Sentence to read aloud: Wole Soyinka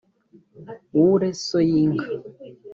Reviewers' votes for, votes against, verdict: 2, 3, rejected